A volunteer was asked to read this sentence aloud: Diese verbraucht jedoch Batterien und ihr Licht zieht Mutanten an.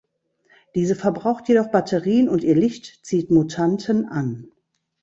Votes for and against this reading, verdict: 2, 0, accepted